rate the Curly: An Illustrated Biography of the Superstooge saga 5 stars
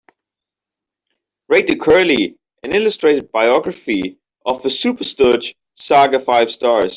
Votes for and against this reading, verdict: 0, 2, rejected